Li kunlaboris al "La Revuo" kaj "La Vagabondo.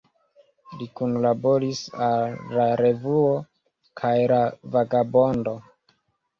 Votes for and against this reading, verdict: 1, 2, rejected